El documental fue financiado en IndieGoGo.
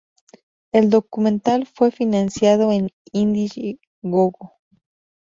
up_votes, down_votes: 2, 2